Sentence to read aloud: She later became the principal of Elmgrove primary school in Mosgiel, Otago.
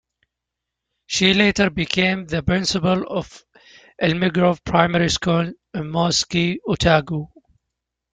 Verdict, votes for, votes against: accepted, 2, 0